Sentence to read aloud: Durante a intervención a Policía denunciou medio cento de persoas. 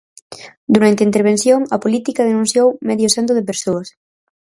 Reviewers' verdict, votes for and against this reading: rejected, 0, 4